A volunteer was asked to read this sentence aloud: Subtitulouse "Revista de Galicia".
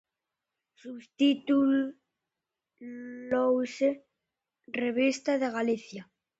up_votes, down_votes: 0, 2